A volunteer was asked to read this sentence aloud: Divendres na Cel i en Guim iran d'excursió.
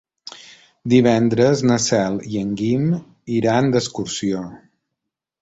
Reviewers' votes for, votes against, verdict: 3, 0, accepted